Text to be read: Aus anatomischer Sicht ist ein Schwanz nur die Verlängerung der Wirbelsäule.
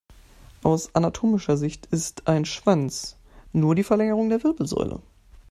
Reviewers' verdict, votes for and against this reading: accepted, 2, 0